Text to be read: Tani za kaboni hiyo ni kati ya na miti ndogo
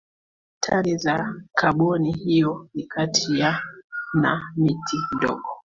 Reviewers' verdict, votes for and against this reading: rejected, 0, 3